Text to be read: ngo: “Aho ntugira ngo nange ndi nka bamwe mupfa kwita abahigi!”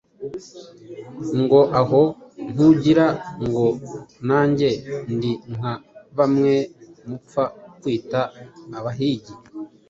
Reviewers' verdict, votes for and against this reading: accepted, 2, 0